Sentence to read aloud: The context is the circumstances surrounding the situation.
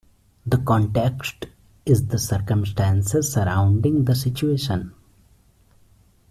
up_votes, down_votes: 2, 0